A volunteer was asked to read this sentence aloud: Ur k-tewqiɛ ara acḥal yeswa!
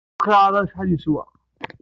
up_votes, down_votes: 1, 2